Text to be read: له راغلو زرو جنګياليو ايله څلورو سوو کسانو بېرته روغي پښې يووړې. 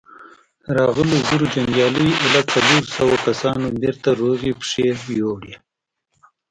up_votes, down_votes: 1, 2